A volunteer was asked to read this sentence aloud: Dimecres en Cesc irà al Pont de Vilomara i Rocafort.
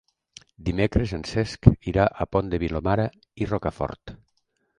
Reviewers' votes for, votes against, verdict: 1, 2, rejected